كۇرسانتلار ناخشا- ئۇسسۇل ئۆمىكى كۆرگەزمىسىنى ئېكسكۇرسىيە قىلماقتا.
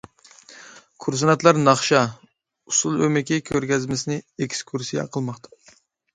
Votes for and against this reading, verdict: 0, 2, rejected